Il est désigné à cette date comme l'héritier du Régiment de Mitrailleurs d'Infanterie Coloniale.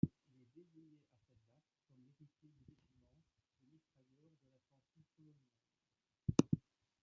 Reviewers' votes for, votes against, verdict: 0, 2, rejected